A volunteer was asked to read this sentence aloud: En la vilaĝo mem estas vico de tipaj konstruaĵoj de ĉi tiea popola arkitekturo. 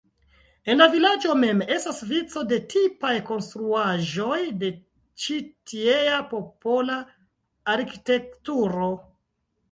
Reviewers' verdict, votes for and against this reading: rejected, 1, 2